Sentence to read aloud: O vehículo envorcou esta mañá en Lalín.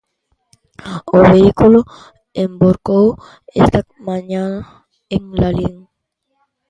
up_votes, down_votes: 0, 2